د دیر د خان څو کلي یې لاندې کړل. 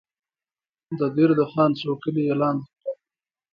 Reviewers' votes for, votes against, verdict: 2, 0, accepted